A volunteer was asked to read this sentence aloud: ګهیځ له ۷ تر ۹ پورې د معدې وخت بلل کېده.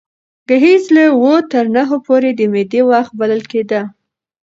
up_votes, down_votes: 0, 2